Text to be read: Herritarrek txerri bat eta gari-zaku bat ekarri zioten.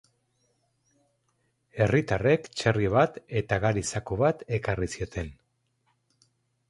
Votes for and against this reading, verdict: 4, 0, accepted